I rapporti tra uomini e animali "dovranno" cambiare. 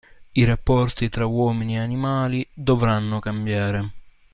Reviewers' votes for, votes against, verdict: 2, 0, accepted